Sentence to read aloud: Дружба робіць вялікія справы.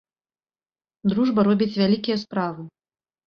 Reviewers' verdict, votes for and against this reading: accepted, 2, 0